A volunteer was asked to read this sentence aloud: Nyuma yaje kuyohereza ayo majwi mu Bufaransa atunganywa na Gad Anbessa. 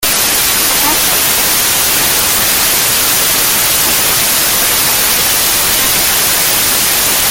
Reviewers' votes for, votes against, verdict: 0, 2, rejected